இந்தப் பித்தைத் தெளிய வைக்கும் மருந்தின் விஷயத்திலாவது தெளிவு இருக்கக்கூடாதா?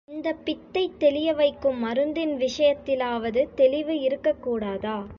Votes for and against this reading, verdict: 2, 0, accepted